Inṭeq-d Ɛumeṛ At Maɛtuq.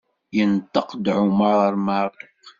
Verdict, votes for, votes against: rejected, 1, 2